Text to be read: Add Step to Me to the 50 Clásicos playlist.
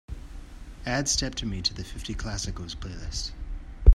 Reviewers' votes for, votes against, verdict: 0, 2, rejected